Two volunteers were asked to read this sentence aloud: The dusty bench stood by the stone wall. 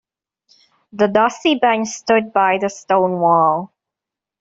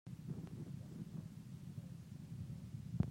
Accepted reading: first